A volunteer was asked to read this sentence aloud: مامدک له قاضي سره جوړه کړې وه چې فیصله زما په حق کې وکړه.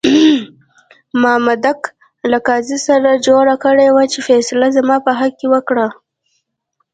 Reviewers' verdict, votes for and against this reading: rejected, 1, 2